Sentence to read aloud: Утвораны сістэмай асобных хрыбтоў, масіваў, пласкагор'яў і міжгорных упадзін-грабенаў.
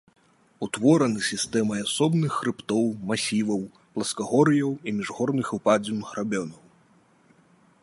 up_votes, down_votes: 2, 0